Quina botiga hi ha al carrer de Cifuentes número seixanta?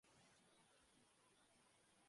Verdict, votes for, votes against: rejected, 0, 2